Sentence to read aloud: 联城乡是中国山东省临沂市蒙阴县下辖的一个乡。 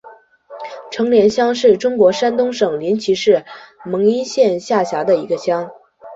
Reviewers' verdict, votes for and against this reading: rejected, 1, 2